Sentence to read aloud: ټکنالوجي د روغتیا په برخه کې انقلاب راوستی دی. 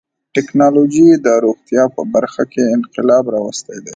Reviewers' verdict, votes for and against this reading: accepted, 2, 0